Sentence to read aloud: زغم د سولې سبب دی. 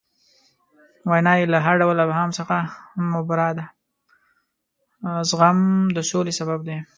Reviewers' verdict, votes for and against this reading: rejected, 1, 2